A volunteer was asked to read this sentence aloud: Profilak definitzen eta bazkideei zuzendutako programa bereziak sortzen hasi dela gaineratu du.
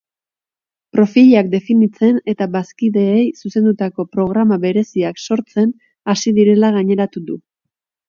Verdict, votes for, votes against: rejected, 0, 2